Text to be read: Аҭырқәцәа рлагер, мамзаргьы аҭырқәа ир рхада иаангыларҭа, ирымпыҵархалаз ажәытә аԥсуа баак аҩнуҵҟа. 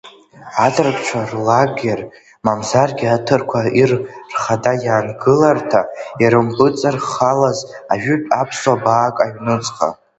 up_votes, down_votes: 2, 0